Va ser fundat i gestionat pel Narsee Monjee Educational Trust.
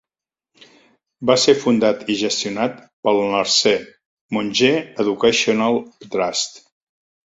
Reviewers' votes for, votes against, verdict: 2, 0, accepted